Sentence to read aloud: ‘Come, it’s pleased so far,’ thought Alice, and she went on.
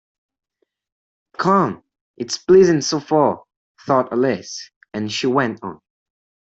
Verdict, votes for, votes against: rejected, 1, 2